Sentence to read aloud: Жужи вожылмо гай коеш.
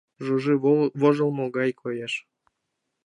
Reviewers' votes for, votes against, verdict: 0, 2, rejected